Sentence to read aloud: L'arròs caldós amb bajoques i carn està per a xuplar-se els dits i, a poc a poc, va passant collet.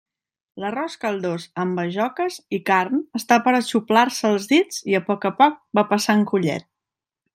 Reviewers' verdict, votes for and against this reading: accepted, 2, 1